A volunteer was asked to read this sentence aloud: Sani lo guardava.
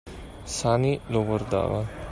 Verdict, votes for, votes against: accepted, 2, 0